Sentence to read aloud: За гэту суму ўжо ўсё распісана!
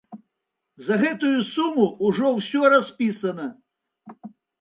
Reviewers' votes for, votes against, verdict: 1, 2, rejected